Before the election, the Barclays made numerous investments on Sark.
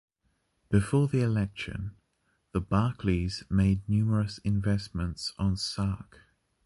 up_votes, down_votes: 2, 0